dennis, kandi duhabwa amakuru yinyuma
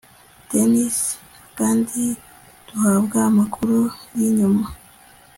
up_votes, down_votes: 2, 0